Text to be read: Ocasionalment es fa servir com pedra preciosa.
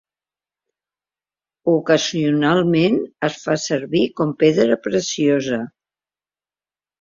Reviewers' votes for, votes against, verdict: 3, 0, accepted